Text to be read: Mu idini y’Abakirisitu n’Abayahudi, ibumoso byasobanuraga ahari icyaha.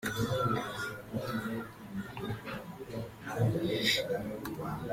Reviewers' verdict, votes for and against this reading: rejected, 0, 2